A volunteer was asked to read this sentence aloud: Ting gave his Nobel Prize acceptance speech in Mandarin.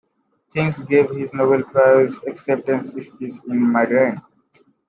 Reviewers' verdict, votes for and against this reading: rejected, 0, 2